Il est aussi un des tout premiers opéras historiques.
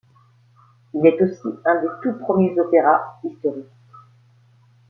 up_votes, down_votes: 2, 0